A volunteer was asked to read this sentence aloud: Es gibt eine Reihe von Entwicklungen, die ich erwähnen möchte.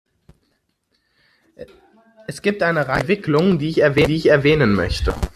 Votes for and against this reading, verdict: 0, 2, rejected